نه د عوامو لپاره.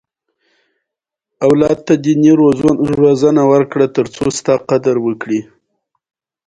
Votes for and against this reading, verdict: 1, 2, rejected